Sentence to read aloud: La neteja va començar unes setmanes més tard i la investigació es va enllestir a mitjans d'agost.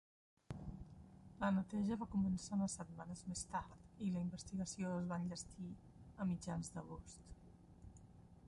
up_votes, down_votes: 0, 2